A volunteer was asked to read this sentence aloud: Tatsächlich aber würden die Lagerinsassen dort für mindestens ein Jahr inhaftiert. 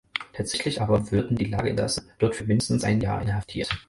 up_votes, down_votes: 2, 4